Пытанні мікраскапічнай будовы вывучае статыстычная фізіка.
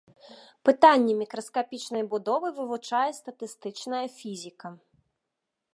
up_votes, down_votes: 2, 0